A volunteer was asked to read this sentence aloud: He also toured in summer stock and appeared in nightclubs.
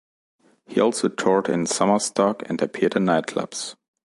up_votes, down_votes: 2, 0